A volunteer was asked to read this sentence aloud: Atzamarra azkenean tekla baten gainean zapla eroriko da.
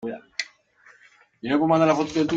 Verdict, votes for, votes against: rejected, 0, 2